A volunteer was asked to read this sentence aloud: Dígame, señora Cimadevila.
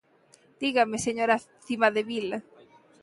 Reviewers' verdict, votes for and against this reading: accepted, 2, 1